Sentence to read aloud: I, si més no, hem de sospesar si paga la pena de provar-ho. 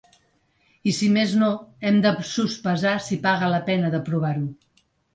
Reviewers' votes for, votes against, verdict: 3, 0, accepted